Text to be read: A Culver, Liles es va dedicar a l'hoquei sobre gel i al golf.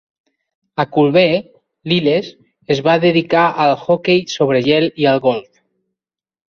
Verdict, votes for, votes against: rejected, 1, 2